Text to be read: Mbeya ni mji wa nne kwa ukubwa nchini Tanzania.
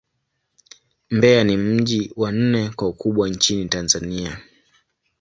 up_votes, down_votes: 2, 0